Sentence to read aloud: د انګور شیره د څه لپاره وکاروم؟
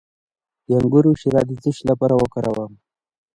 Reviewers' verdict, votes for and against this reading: accepted, 2, 1